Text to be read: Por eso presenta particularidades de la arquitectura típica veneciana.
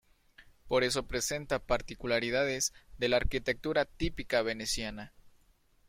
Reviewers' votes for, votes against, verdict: 2, 0, accepted